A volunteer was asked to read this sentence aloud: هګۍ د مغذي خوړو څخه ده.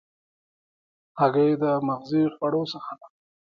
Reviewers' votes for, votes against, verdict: 0, 2, rejected